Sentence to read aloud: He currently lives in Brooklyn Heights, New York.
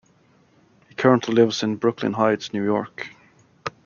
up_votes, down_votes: 2, 1